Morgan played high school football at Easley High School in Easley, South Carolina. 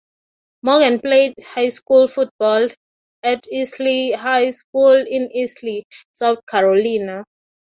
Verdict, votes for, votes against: accepted, 3, 0